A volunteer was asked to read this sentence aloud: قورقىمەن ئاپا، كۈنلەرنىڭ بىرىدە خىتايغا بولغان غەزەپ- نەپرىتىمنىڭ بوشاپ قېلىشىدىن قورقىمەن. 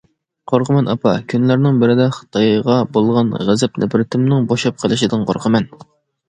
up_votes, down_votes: 2, 0